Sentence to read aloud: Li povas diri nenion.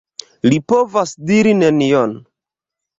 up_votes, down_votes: 2, 1